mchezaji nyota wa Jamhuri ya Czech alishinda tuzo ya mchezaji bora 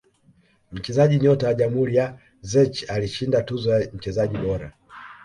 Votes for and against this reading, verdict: 1, 2, rejected